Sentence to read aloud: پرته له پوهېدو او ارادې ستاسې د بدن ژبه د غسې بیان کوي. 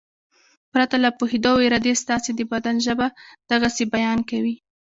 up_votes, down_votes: 2, 0